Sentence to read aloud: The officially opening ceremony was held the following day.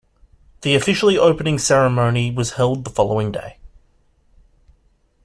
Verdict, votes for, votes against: rejected, 1, 2